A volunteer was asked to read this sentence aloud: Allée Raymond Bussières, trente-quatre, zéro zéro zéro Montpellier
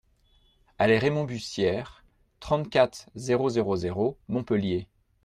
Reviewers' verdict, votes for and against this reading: accepted, 2, 0